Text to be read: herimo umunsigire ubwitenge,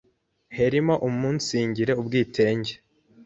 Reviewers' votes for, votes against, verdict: 1, 2, rejected